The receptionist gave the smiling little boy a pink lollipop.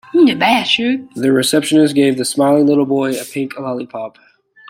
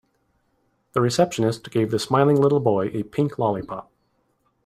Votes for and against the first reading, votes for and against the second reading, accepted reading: 0, 2, 2, 0, second